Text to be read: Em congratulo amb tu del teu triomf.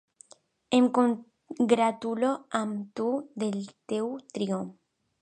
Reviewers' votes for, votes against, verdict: 1, 2, rejected